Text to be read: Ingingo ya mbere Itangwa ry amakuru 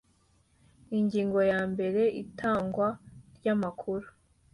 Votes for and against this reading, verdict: 2, 1, accepted